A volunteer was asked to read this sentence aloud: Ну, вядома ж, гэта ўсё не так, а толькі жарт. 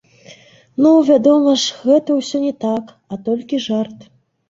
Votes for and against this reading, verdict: 1, 2, rejected